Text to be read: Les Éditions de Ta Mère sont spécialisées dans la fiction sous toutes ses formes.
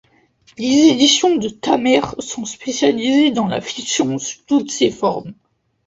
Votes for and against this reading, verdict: 1, 2, rejected